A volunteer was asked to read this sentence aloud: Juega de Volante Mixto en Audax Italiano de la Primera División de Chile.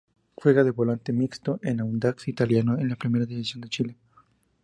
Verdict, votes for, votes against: rejected, 0, 2